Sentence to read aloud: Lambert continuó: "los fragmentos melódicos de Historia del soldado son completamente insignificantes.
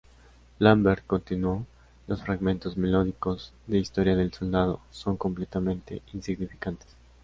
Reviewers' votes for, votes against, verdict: 2, 0, accepted